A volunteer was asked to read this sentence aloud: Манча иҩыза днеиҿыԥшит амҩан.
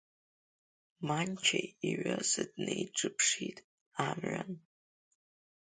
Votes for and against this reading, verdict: 2, 0, accepted